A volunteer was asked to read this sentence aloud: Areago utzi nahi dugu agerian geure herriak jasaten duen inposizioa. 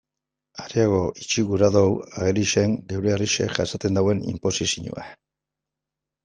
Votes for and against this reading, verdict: 2, 1, accepted